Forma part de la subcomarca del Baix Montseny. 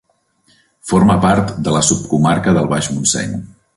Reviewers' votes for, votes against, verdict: 3, 0, accepted